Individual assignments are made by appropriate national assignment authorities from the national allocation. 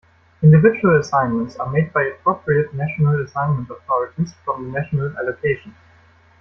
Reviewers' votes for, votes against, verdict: 2, 0, accepted